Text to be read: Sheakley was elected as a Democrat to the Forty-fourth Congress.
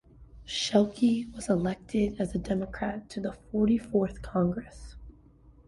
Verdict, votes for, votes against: accepted, 2, 1